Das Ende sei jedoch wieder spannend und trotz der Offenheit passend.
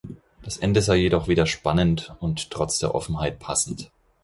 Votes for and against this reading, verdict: 4, 0, accepted